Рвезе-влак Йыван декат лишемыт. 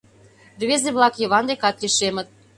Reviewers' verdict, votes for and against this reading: accepted, 2, 0